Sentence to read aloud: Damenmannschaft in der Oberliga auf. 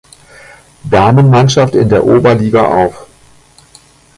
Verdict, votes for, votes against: accepted, 2, 0